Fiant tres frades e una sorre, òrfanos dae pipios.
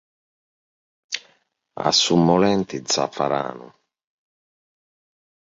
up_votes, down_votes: 0, 2